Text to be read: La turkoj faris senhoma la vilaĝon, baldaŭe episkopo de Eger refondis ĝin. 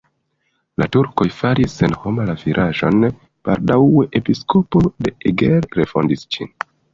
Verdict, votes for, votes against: rejected, 1, 3